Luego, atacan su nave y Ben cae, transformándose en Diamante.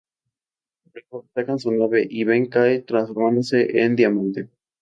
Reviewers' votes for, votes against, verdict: 0, 2, rejected